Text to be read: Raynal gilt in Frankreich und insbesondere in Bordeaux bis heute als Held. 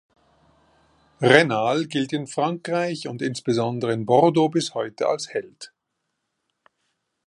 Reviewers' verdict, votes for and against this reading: accepted, 3, 0